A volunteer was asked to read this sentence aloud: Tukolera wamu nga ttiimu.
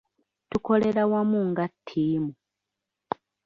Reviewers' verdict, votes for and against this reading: accepted, 2, 0